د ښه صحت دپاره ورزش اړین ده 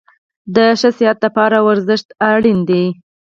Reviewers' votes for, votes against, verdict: 0, 4, rejected